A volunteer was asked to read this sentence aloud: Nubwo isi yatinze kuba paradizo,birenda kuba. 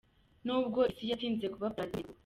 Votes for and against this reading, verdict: 0, 2, rejected